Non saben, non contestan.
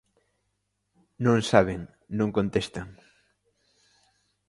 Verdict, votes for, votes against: accepted, 4, 0